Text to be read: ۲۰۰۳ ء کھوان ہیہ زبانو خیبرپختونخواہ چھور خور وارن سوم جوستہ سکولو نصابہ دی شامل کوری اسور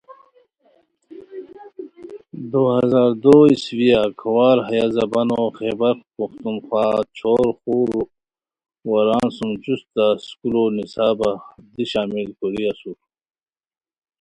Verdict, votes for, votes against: rejected, 0, 2